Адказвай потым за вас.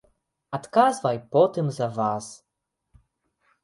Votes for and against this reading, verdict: 2, 0, accepted